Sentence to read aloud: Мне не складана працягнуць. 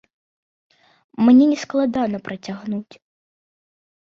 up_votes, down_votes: 2, 0